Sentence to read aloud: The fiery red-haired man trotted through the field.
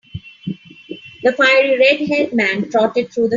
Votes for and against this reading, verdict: 0, 3, rejected